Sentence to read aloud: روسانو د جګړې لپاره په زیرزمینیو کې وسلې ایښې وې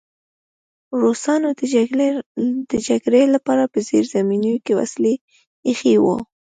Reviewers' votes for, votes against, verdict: 1, 2, rejected